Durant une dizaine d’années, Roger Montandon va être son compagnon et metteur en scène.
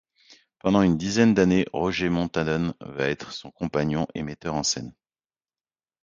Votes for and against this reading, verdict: 1, 2, rejected